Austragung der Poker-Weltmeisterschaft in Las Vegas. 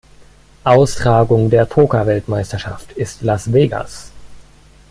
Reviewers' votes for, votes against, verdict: 0, 2, rejected